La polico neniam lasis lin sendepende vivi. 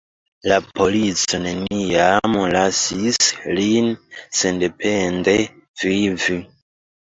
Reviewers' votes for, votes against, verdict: 1, 2, rejected